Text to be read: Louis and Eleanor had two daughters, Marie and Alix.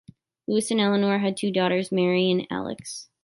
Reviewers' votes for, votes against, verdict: 2, 1, accepted